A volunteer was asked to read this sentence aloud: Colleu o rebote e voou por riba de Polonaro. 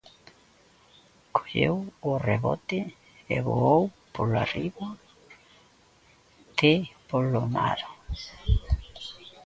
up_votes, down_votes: 0, 2